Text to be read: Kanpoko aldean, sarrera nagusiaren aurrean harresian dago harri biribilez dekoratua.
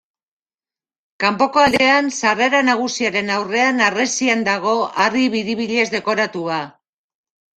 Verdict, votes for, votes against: rejected, 1, 2